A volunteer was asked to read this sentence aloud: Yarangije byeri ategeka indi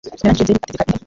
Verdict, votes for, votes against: rejected, 0, 3